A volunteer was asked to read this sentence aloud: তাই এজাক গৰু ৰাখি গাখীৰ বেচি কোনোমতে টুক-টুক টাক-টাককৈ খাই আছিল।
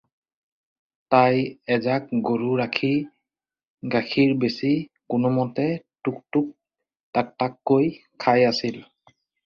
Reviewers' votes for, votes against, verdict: 4, 0, accepted